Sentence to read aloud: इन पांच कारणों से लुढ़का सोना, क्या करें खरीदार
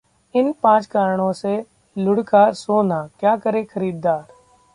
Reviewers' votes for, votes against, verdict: 2, 0, accepted